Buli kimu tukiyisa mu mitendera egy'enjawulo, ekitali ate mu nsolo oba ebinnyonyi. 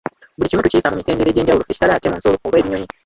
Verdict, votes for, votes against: rejected, 1, 2